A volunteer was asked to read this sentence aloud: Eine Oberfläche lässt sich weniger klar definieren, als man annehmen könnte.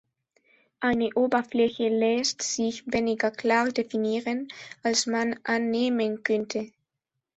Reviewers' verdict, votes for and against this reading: accepted, 2, 0